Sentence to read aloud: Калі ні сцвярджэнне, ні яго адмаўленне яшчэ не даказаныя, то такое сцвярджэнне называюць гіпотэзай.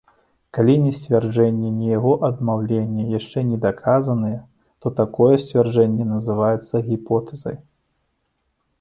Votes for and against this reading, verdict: 0, 3, rejected